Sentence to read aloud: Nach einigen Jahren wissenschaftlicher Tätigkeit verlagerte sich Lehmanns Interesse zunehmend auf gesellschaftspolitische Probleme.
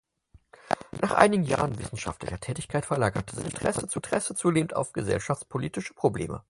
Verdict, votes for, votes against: rejected, 0, 4